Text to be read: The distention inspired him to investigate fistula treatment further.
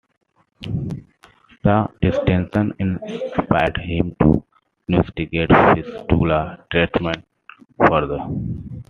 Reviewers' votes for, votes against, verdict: 0, 2, rejected